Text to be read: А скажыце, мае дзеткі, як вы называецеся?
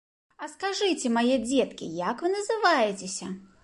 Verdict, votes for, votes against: accepted, 3, 0